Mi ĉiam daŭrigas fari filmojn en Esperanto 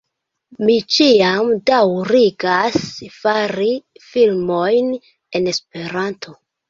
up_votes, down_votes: 2, 0